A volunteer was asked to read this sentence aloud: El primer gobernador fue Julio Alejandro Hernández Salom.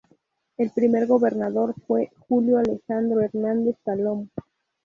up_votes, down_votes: 0, 2